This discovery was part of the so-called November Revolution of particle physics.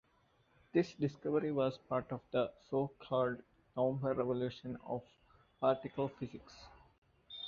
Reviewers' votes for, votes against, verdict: 2, 0, accepted